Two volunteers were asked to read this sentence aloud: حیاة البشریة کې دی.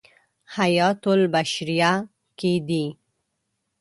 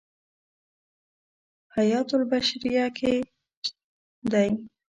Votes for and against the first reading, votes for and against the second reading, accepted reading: 2, 1, 1, 2, first